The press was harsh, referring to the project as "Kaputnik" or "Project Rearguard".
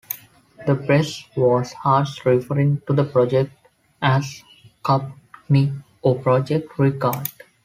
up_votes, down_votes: 0, 3